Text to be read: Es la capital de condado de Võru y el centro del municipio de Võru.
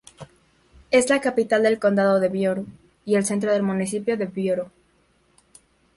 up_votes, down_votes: 0, 2